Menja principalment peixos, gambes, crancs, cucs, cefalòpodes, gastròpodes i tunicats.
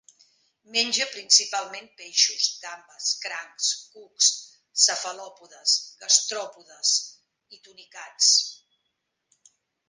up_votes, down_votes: 0, 2